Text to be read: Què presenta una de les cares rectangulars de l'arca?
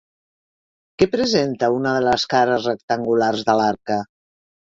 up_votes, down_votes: 3, 0